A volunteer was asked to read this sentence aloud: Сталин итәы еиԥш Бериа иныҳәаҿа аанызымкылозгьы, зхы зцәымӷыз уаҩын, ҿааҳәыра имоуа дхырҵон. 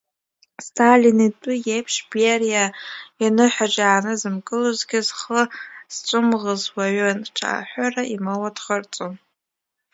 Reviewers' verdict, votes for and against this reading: rejected, 1, 2